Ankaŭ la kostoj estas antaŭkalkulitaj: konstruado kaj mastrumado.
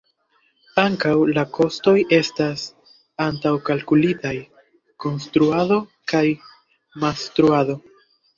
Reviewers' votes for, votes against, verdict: 0, 2, rejected